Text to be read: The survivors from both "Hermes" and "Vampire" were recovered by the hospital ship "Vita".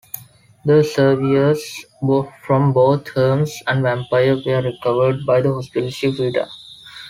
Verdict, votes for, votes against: rejected, 0, 3